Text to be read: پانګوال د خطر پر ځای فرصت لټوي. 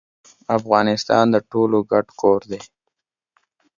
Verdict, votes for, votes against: rejected, 0, 2